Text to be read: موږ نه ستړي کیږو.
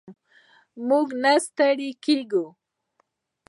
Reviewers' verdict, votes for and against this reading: accepted, 2, 0